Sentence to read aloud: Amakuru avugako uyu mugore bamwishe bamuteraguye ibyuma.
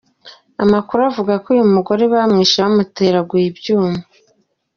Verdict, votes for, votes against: accepted, 2, 0